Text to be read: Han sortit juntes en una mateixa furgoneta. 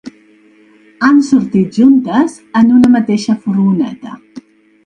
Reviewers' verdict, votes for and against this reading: rejected, 0, 2